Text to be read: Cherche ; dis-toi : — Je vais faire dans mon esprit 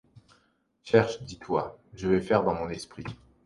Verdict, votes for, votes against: accepted, 2, 0